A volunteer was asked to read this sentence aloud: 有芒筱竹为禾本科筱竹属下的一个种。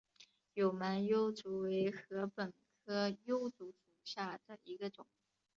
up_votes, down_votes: 3, 2